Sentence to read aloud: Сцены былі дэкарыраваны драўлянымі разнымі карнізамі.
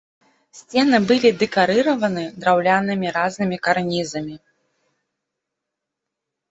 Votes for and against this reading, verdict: 1, 2, rejected